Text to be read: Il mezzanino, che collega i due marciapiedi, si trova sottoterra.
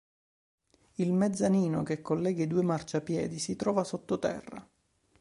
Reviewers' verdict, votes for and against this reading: accepted, 2, 0